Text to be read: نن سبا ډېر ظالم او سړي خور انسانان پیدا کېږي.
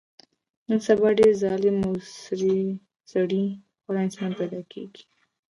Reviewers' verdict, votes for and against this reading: rejected, 1, 2